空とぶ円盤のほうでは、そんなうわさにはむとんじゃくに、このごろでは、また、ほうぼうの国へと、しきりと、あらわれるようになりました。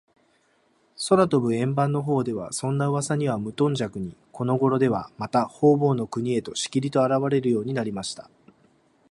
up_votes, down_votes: 2, 0